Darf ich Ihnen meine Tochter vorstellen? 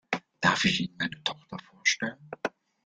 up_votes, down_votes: 1, 2